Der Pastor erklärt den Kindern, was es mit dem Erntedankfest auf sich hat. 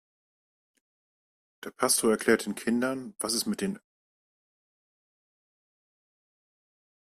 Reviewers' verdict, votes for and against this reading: rejected, 0, 2